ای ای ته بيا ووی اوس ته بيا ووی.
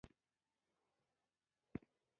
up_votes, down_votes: 0, 2